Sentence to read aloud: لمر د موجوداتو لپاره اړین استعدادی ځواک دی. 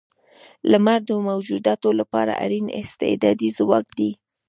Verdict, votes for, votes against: rejected, 1, 2